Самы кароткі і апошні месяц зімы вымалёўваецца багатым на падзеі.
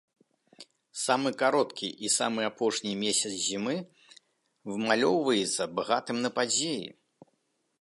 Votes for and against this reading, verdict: 0, 2, rejected